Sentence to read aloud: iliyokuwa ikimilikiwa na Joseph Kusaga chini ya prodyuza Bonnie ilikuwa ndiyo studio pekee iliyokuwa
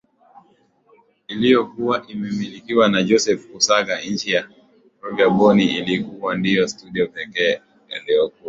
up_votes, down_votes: 2, 0